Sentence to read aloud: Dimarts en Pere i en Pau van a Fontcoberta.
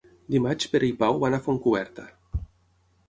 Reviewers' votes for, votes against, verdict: 3, 6, rejected